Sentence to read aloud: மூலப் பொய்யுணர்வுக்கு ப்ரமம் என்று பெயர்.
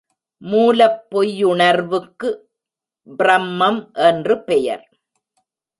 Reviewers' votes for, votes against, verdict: 2, 0, accepted